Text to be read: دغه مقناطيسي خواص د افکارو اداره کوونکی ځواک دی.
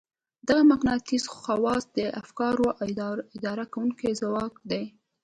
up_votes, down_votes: 2, 0